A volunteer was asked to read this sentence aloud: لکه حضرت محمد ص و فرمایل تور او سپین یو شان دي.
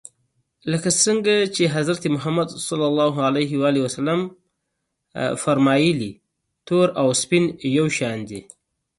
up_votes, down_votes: 2, 0